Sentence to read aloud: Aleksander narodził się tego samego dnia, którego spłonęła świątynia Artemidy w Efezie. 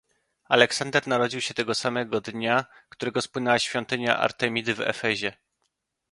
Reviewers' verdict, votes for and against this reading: accepted, 2, 0